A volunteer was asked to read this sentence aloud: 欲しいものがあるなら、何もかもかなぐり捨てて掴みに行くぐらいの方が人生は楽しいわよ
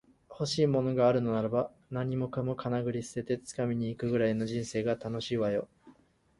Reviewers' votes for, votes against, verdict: 0, 2, rejected